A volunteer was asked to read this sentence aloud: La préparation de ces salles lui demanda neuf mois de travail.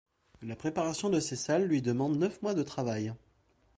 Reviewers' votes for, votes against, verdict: 1, 2, rejected